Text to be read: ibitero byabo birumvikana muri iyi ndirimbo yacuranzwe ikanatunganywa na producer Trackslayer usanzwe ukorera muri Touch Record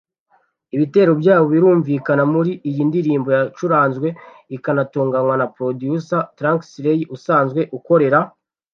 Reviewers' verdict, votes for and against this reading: rejected, 1, 2